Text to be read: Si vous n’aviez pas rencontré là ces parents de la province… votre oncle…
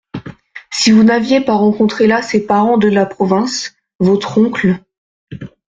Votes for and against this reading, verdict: 2, 1, accepted